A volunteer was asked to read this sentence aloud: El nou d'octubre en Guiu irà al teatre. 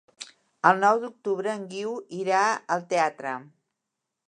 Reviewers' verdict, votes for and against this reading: accepted, 2, 0